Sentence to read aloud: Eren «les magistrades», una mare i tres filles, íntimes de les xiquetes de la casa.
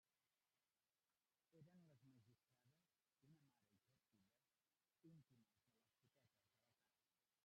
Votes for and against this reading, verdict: 0, 2, rejected